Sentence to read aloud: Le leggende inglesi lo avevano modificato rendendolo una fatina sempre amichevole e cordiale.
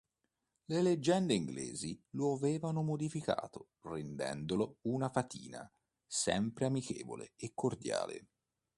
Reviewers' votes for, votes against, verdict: 2, 0, accepted